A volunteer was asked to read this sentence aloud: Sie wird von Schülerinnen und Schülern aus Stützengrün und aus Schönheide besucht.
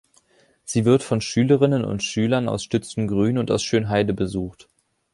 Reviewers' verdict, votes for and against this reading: accepted, 3, 0